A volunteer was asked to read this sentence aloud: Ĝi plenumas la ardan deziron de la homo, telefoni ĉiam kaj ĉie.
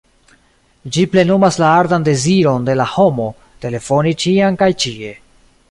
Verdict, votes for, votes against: accepted, 2, 0